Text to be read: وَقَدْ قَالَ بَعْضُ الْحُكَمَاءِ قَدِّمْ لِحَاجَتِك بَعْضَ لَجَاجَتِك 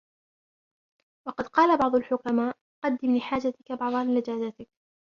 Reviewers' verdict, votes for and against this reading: accepted, 3, 1